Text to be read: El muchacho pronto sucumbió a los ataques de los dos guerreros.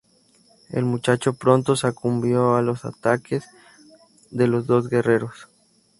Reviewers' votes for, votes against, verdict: 2, 2, rejected